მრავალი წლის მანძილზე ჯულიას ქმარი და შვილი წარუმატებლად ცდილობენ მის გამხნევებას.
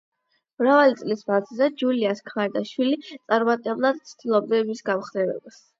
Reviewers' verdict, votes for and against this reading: accepted, 8, 0